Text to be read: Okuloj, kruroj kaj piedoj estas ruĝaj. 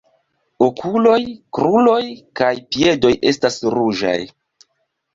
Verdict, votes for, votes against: accepted, 4, 1